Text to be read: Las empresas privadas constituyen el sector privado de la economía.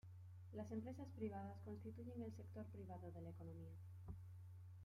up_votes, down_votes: 2, 1